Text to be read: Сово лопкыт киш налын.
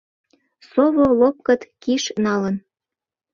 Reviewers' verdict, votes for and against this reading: accepted, 2, 0